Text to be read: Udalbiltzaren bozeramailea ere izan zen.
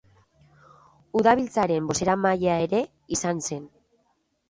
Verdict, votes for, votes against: accepted, 3, 0